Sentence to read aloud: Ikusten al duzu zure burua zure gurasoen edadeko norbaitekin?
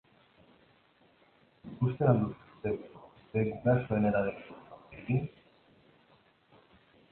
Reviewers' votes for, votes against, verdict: 0, 2, rejected